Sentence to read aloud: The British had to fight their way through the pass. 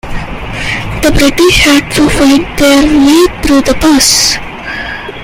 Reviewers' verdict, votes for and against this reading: rejected, 1, 2